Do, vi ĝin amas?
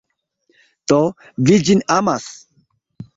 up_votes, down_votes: 2, 0